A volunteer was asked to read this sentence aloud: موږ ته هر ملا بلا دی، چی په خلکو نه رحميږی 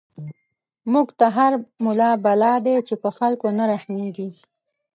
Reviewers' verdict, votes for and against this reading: accepted, 3, 0